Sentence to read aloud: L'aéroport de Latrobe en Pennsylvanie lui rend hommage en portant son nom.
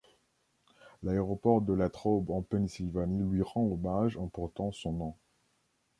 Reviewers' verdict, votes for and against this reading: accepted, 3, 0